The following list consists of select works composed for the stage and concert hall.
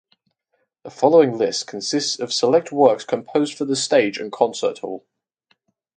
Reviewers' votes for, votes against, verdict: 4, 0, accepted